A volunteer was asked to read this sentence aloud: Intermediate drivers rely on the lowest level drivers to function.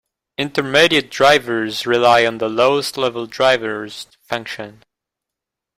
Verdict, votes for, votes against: accepted, 2, 0